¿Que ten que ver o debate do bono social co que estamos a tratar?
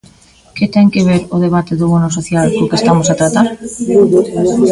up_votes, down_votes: 2, 0